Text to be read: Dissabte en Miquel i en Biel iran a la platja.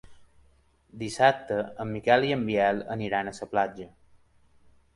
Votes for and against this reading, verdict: 0, 2, rejected